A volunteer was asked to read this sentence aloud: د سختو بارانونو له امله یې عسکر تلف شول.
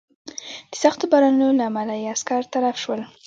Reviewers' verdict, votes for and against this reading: rejected, 1, 2